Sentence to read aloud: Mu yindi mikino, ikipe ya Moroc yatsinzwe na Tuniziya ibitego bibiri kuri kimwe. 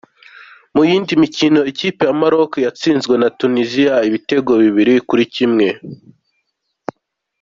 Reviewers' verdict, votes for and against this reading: accepted, 2, 0